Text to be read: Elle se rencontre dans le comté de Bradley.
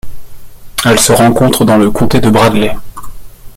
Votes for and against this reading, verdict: 2, 0, accepted